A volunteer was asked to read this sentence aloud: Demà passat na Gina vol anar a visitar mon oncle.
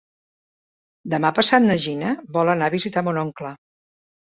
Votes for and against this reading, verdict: 3, 0, accepted